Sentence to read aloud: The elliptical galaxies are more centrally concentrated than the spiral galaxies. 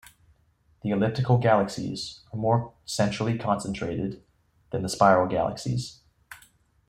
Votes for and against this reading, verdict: 2, 0, accepted